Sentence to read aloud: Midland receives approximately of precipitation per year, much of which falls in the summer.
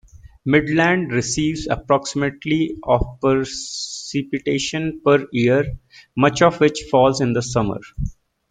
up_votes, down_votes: 2, 0